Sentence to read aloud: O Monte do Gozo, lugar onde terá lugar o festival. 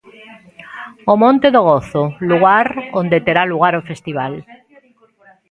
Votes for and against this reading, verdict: 2, 0, accepted